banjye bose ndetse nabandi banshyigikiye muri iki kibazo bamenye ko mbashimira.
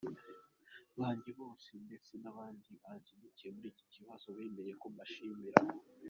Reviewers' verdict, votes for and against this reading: accepted, 2, 0